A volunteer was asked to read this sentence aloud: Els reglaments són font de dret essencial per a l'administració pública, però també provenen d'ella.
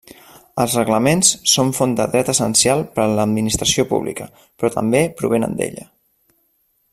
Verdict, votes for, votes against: accepted, 3, 0